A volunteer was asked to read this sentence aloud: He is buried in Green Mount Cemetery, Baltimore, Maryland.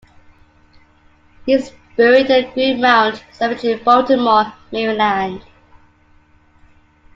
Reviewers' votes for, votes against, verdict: 2, 1, accepted